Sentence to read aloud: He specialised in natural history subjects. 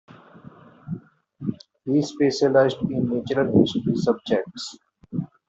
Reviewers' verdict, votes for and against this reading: accepted, 2, 0